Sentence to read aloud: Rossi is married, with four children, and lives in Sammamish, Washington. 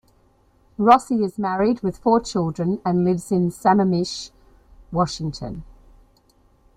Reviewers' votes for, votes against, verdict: 2, 0, accepted